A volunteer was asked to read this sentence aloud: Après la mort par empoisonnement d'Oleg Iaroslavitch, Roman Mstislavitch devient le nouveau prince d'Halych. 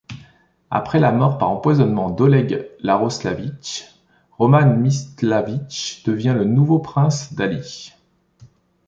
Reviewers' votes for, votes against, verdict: 0, 2, rejected